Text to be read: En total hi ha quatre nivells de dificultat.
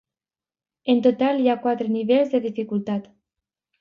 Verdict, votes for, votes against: accepted, 3, 0